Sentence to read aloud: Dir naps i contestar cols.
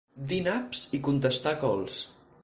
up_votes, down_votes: 4, 0